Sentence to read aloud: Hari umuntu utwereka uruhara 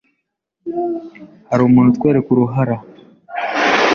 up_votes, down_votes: 2, 0